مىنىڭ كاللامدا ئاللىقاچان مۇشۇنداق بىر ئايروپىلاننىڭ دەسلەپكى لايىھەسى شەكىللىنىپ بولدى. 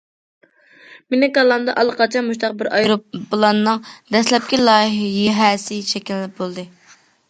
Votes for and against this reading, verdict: 0, 2, rejected